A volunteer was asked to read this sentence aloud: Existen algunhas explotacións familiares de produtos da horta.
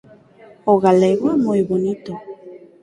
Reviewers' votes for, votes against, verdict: 0, 4, rejected